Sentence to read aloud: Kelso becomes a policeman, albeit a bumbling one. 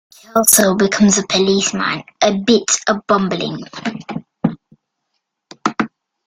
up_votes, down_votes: 0, 2